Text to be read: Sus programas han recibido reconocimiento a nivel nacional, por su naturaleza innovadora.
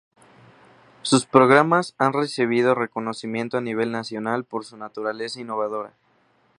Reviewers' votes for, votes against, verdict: 2, 0, accepted